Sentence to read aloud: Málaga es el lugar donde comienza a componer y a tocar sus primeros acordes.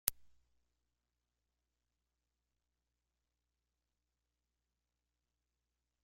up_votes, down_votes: 0, 2